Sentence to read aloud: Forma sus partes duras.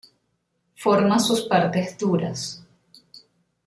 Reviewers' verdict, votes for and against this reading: accepted, 2, 1